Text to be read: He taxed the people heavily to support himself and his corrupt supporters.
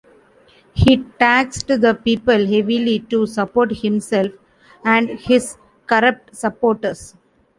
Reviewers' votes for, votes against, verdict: 0, 2, rejected